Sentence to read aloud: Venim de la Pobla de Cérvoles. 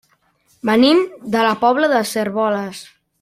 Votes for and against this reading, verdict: 0, 2, rejected